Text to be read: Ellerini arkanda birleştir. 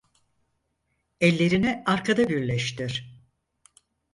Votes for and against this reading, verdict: 0, 4, rejected